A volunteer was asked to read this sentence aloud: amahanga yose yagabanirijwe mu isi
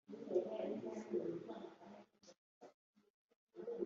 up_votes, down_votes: 0, 2